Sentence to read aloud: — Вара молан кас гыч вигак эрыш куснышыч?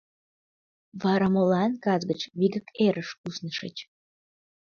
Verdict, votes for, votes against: accepted, 2, 0